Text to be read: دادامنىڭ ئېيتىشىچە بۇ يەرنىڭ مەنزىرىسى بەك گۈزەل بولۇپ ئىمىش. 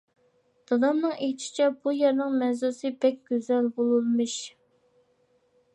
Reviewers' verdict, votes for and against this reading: rejected, 0, 2